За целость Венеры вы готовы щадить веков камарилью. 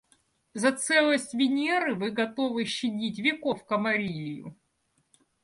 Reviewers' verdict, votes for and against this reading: accepted, 2, 0